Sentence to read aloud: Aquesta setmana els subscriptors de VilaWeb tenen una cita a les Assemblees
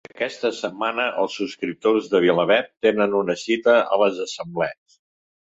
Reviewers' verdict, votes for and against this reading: accepted, 2, 0